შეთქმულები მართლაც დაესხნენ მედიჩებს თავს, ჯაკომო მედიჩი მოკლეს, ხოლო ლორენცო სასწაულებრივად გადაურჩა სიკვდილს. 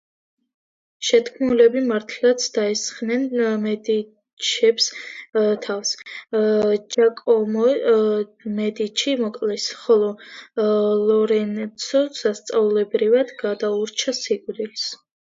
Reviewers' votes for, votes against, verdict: 0, 2, rejected